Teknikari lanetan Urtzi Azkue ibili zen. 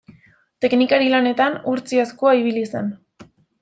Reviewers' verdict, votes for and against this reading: rejected, 0, 2